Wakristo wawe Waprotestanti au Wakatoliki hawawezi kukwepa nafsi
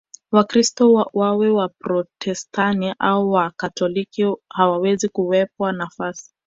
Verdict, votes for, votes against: rejected, 0, 2